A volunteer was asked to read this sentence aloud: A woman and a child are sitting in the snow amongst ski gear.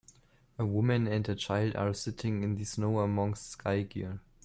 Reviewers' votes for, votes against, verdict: 2, 3, rejected